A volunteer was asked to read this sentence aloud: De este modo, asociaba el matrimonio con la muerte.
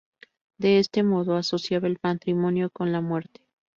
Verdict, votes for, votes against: rejected, 0, 2